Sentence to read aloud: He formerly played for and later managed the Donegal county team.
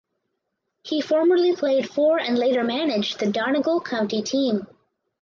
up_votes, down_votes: 4, 0